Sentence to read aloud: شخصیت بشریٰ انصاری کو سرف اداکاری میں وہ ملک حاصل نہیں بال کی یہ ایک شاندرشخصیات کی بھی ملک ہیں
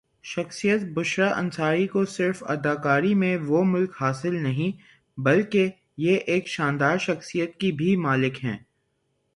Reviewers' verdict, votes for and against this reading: rejected, 0, 3